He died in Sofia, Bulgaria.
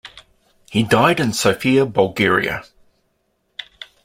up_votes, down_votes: 2, 0